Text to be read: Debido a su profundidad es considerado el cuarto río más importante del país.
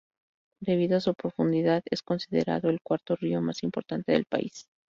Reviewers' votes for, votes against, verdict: 2, 0, accepted